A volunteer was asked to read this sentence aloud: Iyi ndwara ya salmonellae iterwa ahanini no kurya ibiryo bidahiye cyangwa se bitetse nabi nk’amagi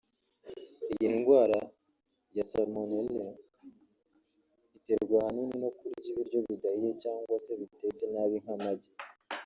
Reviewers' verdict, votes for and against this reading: rejected, 2, 3